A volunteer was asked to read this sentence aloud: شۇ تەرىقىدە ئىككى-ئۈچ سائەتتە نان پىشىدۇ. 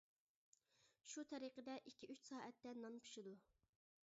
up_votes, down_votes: 3, 0